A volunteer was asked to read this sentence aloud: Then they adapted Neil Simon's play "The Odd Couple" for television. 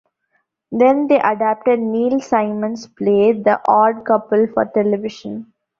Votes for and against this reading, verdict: 2, 0, accepted